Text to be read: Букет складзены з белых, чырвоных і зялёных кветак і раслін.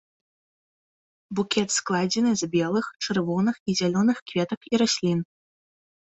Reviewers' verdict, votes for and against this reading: accepted, 2, 0